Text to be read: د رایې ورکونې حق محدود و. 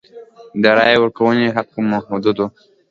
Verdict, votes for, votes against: accepted, 3, 0